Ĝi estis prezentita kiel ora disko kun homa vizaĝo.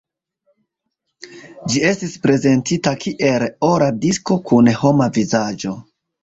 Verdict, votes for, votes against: accepted, 2, 1